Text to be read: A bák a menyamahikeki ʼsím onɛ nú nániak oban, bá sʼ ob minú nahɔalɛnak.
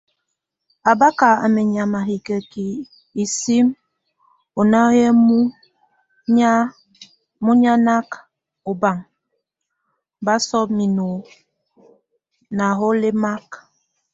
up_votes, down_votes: 1, 2